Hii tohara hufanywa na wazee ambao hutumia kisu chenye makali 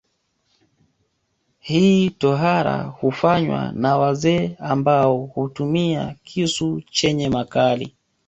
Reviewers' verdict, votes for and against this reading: accepted, 2, 0